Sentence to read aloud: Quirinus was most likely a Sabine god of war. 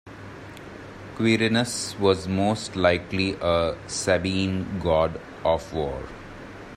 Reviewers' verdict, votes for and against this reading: accepted, 2, 1